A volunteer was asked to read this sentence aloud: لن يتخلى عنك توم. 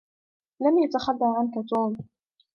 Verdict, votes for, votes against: rejected, 0, 2